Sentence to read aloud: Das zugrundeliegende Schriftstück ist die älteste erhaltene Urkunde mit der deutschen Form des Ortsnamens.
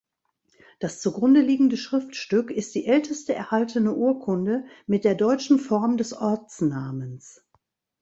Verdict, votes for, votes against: accepted, 2, 0